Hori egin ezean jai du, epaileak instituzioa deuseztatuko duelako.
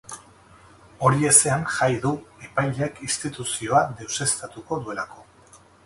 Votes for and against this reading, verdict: 0, 4, rejected